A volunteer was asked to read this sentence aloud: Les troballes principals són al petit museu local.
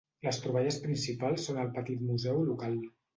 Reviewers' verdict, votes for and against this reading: accepted, 2, 0